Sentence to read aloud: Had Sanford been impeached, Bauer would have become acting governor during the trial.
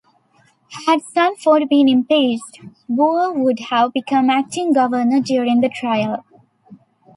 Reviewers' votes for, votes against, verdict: 1, 2, rejected